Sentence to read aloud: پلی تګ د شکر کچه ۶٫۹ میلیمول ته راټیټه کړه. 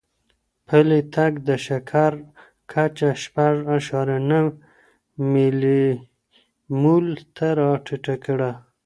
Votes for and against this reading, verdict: 0, 2, rejected